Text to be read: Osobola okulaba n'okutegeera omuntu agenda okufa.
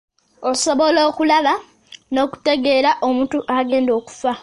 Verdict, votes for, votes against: accepted, 2, 0